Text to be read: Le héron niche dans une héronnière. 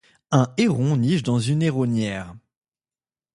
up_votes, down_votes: 0, 2